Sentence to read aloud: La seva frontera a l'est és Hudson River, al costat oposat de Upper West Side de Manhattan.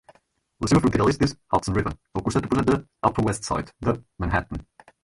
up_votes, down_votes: 2, 4